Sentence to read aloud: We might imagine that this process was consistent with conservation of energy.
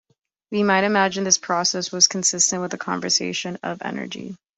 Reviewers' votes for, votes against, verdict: 0, 2, rejected